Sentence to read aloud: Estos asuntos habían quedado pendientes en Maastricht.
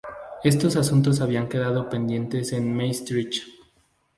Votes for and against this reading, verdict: 2, 0, accepted